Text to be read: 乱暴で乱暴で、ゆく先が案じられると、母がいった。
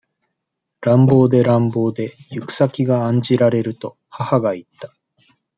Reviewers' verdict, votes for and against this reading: accepted, 2, 0